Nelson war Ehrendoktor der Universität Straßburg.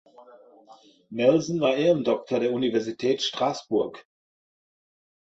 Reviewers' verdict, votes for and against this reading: accepted, 2, 0